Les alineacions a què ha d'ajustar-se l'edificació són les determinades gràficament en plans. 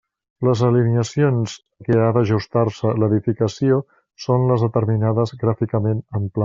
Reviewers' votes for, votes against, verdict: 0, 2, rejected